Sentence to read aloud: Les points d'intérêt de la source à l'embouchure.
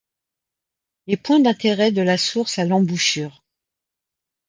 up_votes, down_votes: 2, 1